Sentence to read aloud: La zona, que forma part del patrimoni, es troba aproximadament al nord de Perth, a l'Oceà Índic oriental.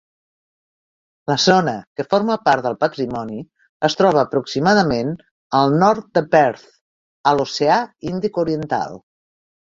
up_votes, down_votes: 3, 0